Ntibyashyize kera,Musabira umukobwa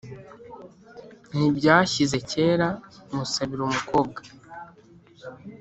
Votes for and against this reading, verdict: 2, 0, accepted